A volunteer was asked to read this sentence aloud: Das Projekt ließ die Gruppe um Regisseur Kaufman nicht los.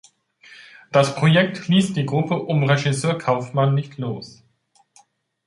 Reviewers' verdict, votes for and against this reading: accepted, 2, 0